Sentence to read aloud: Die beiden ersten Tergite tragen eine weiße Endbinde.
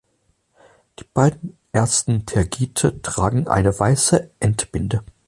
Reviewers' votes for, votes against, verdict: 6, 0, accepted